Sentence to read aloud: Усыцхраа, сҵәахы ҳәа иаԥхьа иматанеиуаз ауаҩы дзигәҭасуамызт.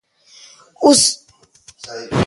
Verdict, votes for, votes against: rejected, 0, 2